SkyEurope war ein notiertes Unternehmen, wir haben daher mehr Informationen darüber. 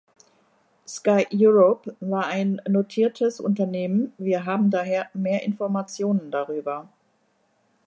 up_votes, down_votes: 2, 0